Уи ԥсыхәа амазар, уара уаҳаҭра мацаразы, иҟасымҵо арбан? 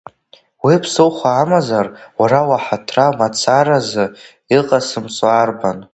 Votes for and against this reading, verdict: 2, 0, accepted